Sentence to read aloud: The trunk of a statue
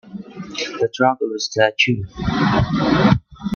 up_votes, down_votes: 1, 2